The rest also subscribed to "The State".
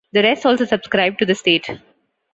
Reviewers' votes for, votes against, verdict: 2, 0, accepted